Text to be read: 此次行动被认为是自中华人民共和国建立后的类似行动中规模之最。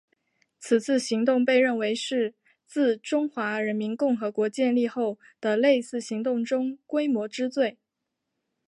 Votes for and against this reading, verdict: 2, 0, accepted